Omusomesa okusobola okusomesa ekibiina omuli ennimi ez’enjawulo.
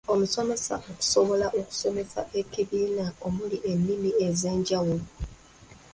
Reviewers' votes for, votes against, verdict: 0, 2, rejected